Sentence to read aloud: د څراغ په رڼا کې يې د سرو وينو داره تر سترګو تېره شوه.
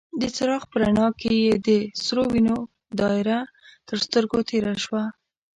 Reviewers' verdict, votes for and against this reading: rejected, 0, 2